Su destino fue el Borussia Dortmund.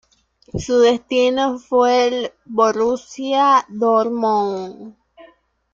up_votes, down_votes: 2, 0